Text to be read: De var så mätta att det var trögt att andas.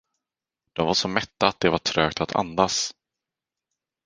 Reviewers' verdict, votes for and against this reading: accepted, 4, 0